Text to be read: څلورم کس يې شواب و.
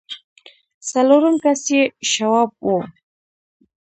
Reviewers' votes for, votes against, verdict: 0, 2, rejected